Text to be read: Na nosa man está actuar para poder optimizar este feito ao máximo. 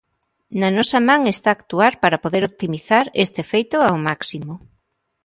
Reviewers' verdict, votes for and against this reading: accepted, 2, 0